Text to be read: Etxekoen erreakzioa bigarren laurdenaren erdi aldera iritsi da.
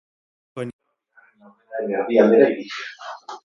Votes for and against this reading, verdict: 0, 6, rejected